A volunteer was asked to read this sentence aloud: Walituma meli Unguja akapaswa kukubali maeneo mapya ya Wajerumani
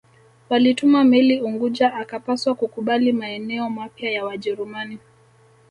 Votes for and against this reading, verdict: 2, 0, accepted